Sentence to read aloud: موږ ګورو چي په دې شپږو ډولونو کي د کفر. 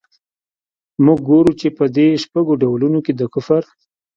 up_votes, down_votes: 1, 2